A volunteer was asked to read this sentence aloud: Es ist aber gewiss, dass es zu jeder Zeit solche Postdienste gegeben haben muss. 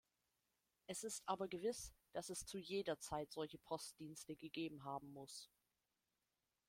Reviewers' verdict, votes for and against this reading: accepted, 2, 0